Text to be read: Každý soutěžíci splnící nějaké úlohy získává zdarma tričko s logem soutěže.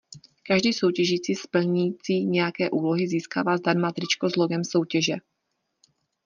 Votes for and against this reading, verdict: 2, 0, accepted